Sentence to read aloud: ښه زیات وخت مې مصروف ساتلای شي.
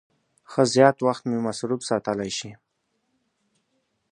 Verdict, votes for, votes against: accepted, 2, 0